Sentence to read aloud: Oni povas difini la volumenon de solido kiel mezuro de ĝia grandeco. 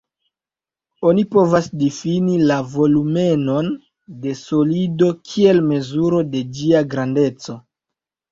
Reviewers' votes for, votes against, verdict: 0, 2, rejected